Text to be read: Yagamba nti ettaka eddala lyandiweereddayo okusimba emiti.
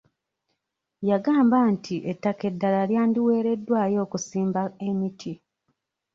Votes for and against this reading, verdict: 1, 2, rejected